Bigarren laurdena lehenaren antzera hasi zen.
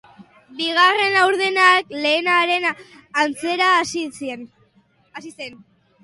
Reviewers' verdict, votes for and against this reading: rejected, 1, 2